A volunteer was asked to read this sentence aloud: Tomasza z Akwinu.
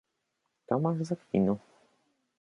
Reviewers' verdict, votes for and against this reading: rejected, 0, 3